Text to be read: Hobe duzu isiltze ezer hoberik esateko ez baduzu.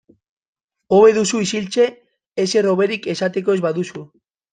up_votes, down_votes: 2, 0